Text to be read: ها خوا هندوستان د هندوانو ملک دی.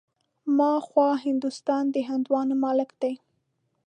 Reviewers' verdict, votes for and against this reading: accepted, 2, 0